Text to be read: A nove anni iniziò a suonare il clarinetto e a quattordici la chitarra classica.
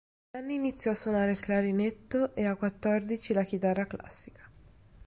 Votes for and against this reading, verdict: 0, 2, rejected